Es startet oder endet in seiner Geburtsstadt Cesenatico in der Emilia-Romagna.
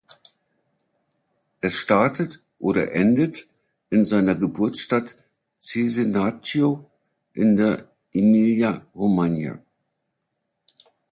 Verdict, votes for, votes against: rejected, 0, 2